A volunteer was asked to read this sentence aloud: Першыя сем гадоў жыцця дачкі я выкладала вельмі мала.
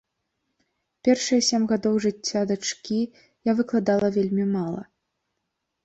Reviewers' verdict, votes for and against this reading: accepted, 2, 0